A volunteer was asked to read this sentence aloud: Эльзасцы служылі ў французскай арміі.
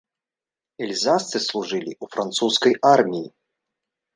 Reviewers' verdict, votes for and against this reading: accepted, 3, 0